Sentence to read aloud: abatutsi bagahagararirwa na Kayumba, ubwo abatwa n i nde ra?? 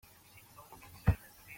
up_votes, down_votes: 0, 2